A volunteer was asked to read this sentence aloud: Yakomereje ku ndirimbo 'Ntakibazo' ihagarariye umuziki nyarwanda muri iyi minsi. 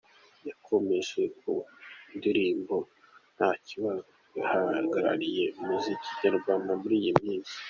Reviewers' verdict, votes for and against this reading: accepted, 2, 1